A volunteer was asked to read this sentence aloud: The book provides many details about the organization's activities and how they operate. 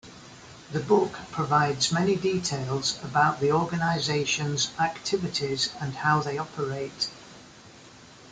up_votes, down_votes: 2, 1